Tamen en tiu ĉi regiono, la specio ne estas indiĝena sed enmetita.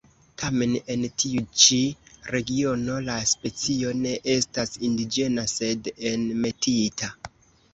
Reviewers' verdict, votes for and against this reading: accepted, 2, 0